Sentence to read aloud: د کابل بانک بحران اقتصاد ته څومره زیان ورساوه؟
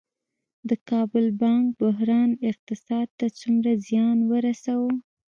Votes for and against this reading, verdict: 0, 2, rejected